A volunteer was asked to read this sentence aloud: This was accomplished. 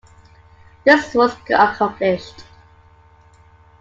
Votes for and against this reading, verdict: 2, 1, accepted